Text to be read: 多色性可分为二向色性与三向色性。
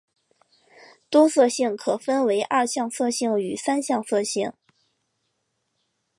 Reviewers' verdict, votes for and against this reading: accepted, 4, 0